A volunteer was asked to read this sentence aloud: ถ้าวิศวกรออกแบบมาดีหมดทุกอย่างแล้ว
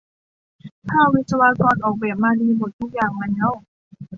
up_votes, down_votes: 2, 0